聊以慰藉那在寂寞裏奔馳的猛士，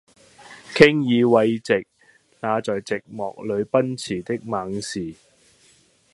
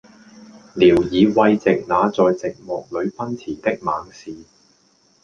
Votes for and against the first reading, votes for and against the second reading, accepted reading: 0, 2, 2, 0, second